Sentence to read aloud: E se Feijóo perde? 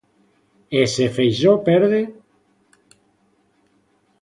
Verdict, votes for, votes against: rejected, 1, 2